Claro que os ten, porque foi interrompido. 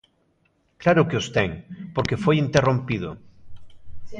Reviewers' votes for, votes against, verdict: 4, 0, accepted